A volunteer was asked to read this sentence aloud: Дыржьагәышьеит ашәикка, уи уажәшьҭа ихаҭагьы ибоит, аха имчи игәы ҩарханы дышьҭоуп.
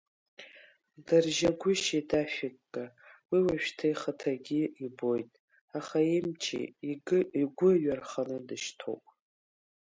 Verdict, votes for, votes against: rejected, 1, 2